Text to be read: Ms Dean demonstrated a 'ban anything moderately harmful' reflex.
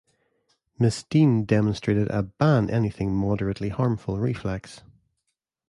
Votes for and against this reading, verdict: 2, 0, accepted